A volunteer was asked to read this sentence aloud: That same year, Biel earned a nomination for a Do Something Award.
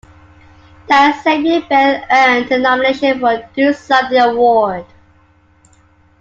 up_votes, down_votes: 2, 1